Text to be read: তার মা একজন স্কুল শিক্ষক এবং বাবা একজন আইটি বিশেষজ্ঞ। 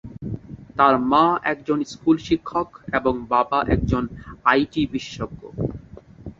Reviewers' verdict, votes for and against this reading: accepted, 2, 0